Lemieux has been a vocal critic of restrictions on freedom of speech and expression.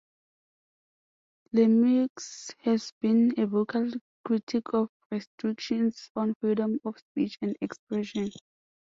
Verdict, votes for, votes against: accepted, 2, 0